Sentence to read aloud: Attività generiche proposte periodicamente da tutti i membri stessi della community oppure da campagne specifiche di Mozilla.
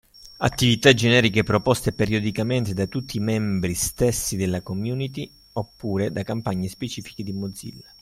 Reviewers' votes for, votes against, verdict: 3, 1, accepted